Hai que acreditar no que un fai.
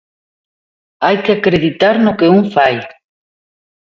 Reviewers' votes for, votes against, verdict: 2, 1, accepted